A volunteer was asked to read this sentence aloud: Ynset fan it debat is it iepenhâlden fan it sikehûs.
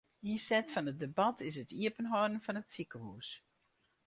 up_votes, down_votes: 4, 0